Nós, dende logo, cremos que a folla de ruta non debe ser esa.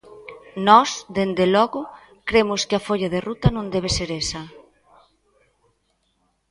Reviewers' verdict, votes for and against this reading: rejected, 1, 2